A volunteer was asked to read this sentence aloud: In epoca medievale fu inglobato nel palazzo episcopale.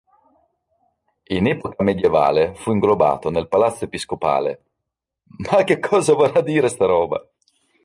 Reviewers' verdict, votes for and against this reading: rejected, 0, 2